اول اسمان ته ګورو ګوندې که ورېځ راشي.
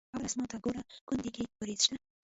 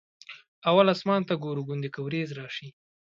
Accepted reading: second